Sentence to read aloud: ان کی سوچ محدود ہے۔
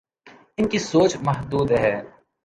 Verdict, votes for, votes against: accepted, 2, 0